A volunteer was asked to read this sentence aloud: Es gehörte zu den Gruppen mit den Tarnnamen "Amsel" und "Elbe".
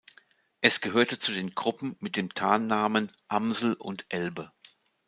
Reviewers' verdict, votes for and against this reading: accepted, 2, 0